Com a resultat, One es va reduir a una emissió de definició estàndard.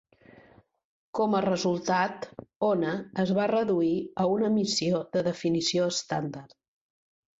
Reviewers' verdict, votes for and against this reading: rejected, 1, 2